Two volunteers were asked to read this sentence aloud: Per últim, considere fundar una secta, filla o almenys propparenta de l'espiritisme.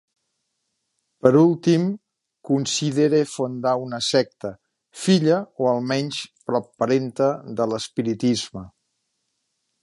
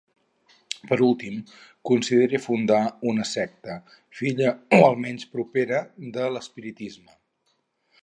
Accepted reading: first